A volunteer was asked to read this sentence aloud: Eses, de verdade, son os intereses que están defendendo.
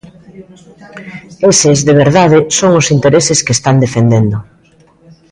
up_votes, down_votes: 0, 2